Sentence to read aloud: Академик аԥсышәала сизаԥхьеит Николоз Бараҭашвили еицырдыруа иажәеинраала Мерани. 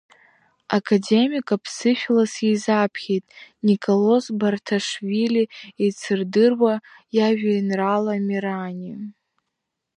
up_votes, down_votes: 0, 2